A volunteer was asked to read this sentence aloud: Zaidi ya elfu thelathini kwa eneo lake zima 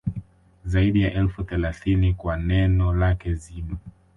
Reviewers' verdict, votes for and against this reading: rejected, 1, 3